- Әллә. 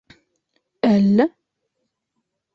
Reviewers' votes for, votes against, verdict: 2, 1, accepted